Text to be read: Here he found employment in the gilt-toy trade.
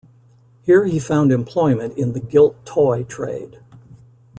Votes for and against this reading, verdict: 2, 0, accepted